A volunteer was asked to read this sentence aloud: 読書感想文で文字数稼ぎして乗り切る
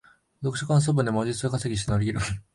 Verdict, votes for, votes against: accepted, 2, 1